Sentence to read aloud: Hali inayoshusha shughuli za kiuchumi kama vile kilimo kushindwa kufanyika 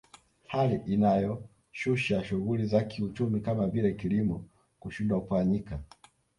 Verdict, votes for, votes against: accepted, 2, 1